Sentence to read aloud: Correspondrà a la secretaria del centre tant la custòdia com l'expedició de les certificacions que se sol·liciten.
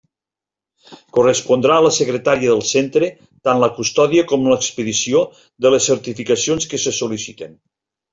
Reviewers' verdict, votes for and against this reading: rejected, 1, 2